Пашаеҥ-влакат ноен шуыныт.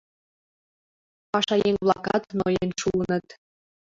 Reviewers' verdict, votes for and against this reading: accepted, 2, 0